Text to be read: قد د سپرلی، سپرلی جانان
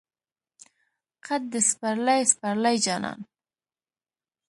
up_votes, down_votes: 2, 0